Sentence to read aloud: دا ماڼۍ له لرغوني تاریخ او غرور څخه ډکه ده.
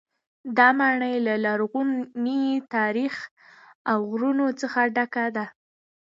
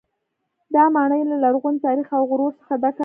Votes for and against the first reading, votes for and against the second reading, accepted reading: 1, 2, 2, 0, second